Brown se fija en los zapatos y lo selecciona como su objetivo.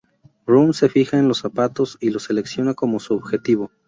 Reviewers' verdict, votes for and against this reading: rejected, 0, 2